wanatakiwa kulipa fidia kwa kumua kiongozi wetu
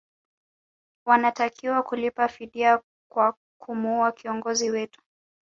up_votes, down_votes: 2, 0